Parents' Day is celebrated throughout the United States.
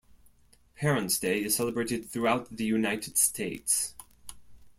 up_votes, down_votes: 2, 0